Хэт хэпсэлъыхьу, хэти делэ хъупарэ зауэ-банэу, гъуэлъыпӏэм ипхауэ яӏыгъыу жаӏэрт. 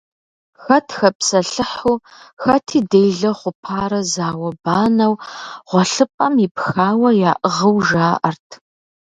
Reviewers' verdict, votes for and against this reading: accepted, 2, 0